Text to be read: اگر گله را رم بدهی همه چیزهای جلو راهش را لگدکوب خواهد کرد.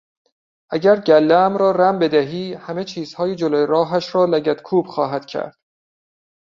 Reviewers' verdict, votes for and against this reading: rejected, 0, 2